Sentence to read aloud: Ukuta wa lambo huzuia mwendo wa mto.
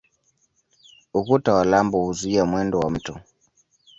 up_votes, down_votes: 0, 2